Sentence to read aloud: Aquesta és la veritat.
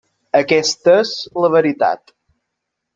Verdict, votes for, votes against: rejected, 1, 2